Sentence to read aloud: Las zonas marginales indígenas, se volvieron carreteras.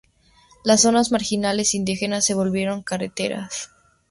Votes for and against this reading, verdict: 2, 0, accepted